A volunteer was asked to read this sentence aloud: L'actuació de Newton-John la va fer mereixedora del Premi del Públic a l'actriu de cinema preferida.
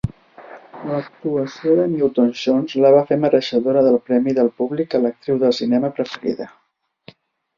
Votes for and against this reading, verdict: 0, 2, rejected